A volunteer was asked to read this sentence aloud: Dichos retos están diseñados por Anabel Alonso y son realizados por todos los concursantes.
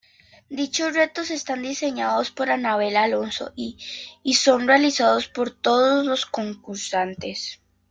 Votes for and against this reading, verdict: 2, 0, accepted